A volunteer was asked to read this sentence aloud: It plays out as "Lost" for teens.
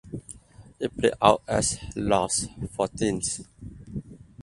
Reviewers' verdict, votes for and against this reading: rejected, 0, 2